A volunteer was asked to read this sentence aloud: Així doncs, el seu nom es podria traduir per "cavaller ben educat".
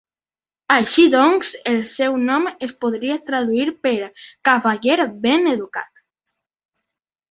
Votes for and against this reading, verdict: 3, 0, accepted